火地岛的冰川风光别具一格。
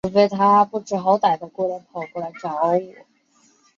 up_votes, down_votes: 1, 3